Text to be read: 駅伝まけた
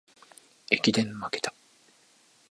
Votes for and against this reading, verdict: 2, 0, accepted